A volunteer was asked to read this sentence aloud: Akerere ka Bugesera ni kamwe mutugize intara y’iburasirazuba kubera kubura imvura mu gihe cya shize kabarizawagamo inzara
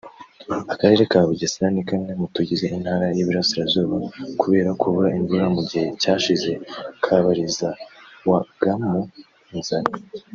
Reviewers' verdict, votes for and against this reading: rejected, 1, 2